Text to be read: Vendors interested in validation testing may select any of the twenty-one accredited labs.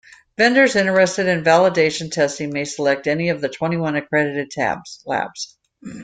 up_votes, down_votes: 0, 2